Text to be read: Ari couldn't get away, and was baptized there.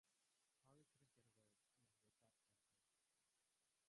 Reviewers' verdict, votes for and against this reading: rejected, 0, 2